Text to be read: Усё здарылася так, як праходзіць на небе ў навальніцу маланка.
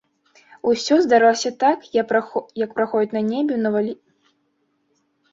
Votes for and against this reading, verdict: 0, 2, rejected